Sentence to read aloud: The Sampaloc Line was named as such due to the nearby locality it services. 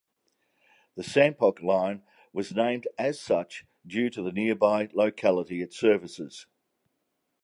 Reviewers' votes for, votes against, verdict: 1, 2, rejected